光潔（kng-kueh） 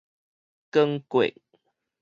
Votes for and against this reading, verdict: 2, 2, rejected